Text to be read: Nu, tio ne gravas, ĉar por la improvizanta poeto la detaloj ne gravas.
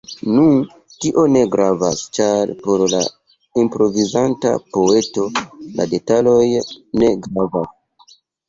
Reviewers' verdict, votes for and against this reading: accepted, 2, 0